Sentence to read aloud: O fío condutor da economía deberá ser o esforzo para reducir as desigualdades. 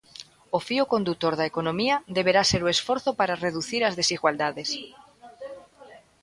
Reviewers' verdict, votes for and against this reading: rejected, 1, 2